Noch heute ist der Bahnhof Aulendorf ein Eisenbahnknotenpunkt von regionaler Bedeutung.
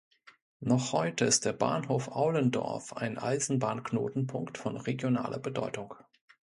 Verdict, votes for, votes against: accepted, 2, 0